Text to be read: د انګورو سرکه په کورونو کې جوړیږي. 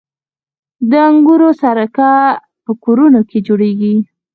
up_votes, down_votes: 4, 0